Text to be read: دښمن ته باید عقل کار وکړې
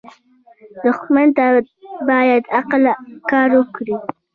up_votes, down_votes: 2, 1